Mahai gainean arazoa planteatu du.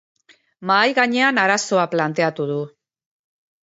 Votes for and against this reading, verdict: 2, 0, accepted